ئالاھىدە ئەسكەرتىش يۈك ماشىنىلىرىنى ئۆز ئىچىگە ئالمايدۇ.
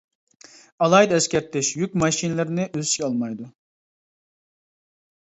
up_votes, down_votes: 1, 2